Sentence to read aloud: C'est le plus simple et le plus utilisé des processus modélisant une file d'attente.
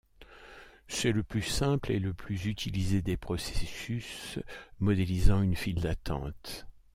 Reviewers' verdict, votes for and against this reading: rejected, 1, 2